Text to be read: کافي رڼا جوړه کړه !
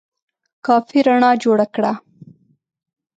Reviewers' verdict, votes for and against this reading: accepted, 2, 0